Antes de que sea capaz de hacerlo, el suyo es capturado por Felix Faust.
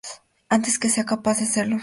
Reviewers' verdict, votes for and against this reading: rejected, 0, 4